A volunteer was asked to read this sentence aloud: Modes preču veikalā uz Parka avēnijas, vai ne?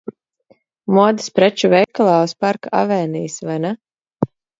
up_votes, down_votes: 2, 0